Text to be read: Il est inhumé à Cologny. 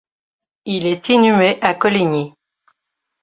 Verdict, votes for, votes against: rejected, 1, 2